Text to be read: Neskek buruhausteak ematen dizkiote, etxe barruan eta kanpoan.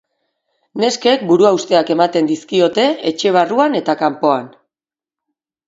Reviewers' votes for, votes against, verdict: 10, 0, accepted